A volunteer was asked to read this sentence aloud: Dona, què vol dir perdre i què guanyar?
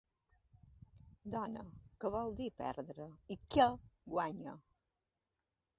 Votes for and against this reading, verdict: 2, 0, accepted